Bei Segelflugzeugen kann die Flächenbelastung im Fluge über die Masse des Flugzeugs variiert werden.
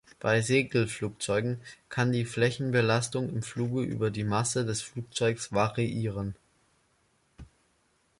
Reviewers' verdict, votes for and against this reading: rejected, 0, 2